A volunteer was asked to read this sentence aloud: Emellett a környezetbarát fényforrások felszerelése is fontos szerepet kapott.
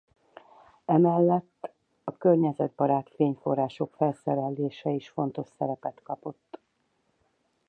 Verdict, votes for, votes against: accepted, 4, 0